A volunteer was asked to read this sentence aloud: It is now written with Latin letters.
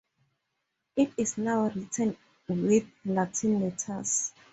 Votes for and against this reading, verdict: 4, 2, accepted